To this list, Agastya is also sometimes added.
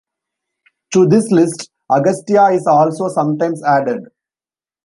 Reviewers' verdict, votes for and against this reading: accepted, 2, 0